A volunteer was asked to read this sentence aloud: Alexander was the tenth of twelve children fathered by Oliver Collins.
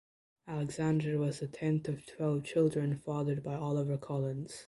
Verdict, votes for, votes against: accepted, 2, 1